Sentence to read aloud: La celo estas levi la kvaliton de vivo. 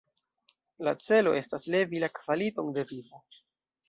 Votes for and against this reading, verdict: 0, 2, rejected